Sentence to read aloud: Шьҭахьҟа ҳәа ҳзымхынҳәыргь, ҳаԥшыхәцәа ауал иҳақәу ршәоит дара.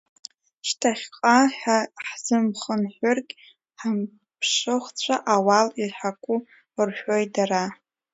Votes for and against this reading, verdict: 0, 2, rejected